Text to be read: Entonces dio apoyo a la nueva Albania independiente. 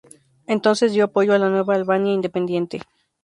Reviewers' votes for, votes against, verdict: 2, 0, accepted